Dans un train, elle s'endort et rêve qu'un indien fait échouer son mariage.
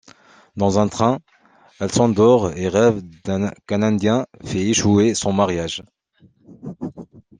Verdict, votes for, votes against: rejected, 1, 2